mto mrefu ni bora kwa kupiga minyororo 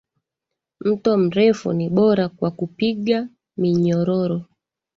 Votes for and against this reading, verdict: 2, 1, accepted